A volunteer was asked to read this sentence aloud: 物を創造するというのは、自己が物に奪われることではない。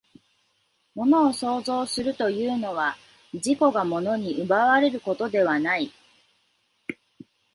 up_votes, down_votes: 2, 0